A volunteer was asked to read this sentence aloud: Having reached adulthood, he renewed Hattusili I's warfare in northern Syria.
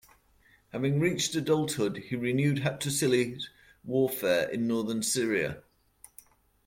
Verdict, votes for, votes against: rejected, 0, 2